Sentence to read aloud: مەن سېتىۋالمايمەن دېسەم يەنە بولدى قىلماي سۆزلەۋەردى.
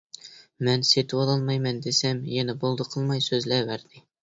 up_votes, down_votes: 0, 2